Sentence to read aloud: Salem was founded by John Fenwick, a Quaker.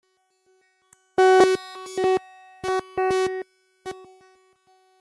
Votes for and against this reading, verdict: 0, 2, rejected